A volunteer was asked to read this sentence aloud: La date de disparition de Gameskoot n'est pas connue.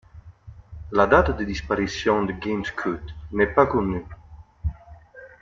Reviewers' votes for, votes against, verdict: 2, 0, accepted